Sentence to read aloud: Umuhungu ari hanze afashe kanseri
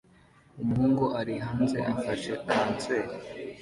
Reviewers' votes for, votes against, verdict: 2, 0, accepted